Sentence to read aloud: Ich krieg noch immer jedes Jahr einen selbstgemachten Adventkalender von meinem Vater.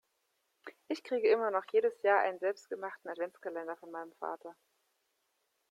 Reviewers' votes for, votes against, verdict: 1, 2, rejected